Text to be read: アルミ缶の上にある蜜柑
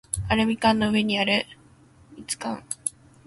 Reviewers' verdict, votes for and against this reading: rejected, 0, 2